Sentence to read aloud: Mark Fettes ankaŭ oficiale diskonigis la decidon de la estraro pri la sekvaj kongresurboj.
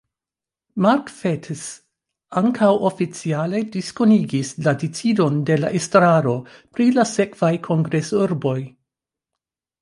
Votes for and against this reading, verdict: 2, 0, accepted